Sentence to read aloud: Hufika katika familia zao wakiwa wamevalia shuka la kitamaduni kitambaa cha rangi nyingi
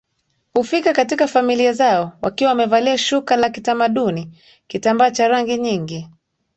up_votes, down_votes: 2, 1